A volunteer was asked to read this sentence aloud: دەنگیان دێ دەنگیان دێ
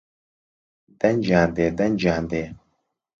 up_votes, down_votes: 2, 1